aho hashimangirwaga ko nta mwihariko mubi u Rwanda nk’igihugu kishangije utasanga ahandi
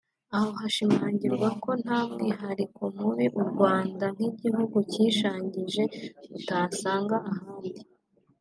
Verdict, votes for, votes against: accepted, 2, 0